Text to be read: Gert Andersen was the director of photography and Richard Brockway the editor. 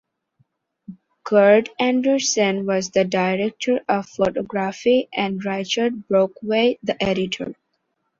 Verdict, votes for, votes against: rejected, 0, 2